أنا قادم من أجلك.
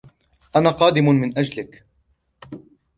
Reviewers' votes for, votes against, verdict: 3, 0, accepted